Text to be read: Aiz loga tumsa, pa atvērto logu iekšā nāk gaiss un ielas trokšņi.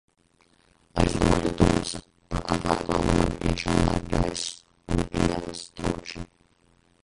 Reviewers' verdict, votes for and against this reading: rejected, 0, 2